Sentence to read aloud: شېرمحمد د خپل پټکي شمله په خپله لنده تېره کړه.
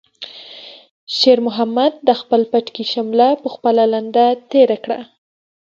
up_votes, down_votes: 2, 0